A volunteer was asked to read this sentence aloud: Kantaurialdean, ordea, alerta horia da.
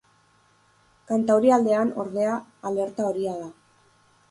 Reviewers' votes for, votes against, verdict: 4, 0, accepted